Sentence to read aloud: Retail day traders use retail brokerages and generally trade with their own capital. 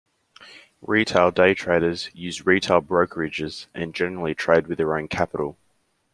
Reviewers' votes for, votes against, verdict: 2, 0, accepted